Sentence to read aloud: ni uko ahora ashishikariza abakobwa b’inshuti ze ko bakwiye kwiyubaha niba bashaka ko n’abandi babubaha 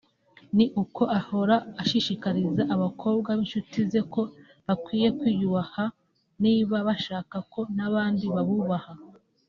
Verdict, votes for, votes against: accepted, 2, 0